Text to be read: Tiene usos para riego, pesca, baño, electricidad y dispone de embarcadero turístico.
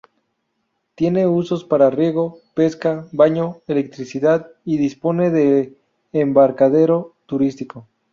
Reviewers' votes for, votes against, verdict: 0, 2, rejected